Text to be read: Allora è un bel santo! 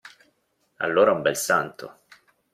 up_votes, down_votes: 2, 0